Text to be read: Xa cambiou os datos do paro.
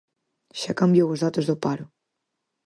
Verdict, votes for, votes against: accepted, 4, 0